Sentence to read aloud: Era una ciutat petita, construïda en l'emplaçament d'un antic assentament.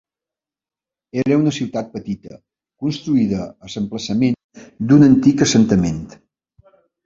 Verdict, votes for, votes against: rejected, 1, 2